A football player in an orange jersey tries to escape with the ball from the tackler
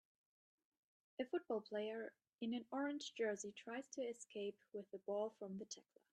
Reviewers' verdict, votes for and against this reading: accepted, 2, 0